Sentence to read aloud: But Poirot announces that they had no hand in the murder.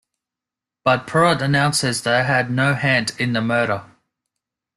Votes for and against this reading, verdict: 0, 2, rejected